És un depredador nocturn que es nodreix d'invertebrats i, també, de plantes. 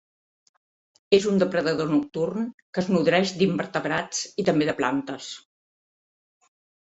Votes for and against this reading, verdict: 2, 0, accepted